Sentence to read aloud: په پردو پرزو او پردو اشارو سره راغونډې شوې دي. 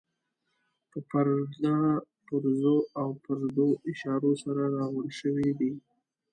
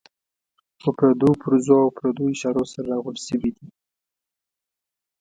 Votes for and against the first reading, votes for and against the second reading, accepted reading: 1, 2, 2, 0, second